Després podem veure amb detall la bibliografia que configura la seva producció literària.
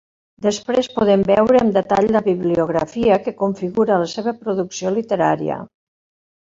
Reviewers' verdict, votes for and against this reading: accepted, 3, 0